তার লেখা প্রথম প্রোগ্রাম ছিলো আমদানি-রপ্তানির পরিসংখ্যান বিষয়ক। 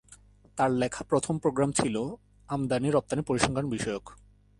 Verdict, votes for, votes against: accepted, 2, 0